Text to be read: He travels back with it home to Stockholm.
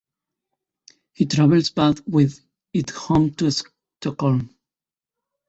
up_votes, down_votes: 2, 0